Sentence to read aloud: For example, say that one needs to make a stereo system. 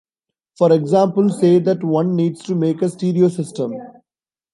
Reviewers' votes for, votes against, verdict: 0, 2, rejected